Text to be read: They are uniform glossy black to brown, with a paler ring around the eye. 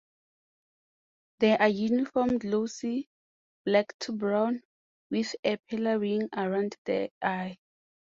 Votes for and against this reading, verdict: 2, 0, accepted